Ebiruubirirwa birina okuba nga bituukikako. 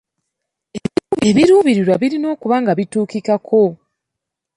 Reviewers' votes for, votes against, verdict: 2, 0, accepted